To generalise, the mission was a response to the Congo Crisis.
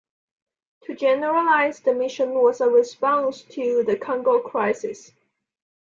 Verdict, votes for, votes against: accepted, 2, 0